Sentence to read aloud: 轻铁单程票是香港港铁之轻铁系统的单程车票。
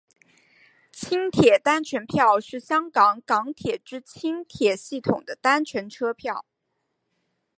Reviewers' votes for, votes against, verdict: 3, 1, accepted